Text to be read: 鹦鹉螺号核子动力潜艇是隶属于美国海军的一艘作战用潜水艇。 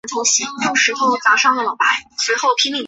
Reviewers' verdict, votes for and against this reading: rejected, 0, 3